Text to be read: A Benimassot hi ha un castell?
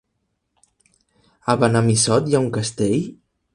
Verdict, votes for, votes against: accepted, 2, 1